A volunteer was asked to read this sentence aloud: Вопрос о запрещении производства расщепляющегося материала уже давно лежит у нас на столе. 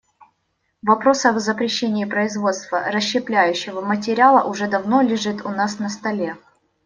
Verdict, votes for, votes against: rejected, 0, 2